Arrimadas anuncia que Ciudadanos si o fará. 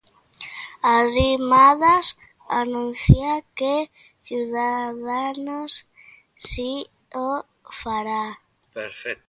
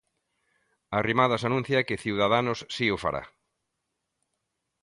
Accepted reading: second